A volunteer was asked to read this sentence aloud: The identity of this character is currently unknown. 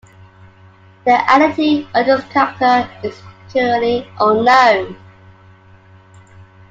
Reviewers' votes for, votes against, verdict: 0, 2, rejected